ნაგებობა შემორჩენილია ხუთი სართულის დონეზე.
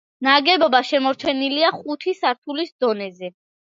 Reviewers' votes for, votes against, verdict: 2, 0, accepted